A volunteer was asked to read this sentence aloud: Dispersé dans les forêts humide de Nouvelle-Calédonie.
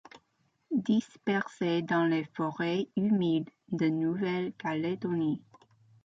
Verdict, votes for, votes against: accepted, 2, 0